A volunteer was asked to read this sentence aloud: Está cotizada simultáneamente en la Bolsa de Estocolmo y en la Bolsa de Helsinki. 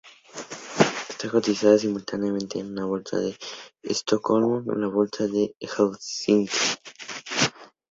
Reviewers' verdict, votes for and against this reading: accepted, 2, 0